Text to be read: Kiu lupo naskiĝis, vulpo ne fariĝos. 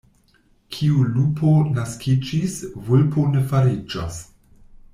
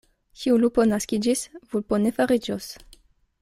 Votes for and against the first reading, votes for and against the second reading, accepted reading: 1, 2, 2, 0, second